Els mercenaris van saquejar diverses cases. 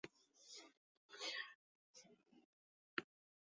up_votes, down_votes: 0, 2